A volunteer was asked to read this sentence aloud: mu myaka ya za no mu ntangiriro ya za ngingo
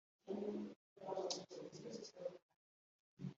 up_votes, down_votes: 0, 2